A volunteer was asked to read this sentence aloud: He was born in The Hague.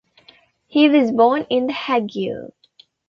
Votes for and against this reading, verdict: 1, 2, rejected